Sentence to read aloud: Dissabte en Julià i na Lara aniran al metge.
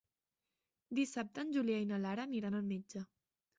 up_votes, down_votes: 3, 0